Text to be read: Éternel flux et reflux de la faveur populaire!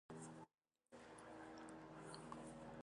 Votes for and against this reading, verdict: 0, 2, rejected